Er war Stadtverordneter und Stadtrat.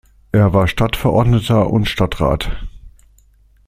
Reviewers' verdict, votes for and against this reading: accepted, 2, 0